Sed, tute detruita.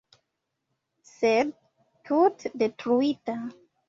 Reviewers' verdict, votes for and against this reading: accepted, 2, 1